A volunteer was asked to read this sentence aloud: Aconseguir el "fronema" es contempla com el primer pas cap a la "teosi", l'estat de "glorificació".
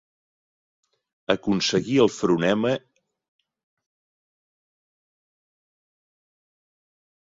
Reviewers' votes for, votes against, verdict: 0, 2, rejected